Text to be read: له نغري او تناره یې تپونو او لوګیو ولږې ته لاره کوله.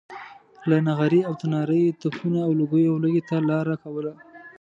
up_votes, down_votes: 2, 0